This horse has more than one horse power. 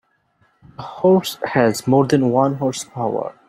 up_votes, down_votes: 1, 2